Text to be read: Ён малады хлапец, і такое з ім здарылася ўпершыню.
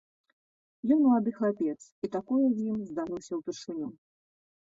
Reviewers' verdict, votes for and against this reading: accepted, 2, 0